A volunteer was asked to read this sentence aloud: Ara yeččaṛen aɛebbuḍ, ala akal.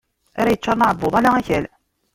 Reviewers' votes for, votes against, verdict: 1, 2, rejected